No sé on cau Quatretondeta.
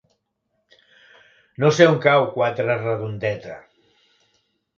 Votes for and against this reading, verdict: 0, 3, rejected